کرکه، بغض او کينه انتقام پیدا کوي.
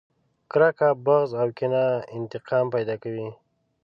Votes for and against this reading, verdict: 0, 2, rejected